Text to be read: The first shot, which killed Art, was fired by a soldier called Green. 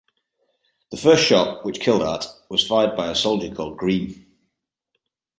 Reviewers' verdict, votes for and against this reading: accepted, 2, 0